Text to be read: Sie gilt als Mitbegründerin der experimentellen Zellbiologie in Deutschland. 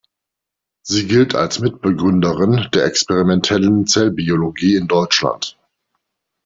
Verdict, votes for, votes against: accepted, 2, 0